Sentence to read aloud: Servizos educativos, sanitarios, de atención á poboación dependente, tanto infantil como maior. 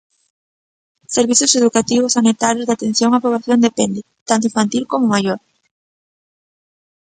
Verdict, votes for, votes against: rejected, 0, 2